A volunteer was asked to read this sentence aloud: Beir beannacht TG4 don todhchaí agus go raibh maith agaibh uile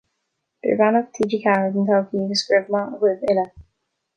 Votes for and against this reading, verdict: 0, 2, rejected